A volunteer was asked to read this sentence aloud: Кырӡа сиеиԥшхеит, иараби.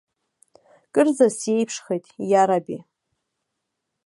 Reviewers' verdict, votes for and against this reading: accepted, 2, 1